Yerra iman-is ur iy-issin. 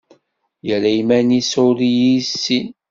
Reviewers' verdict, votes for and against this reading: accepted, 2, 0